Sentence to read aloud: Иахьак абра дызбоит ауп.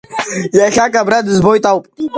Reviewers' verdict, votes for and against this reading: rejected, 0, 2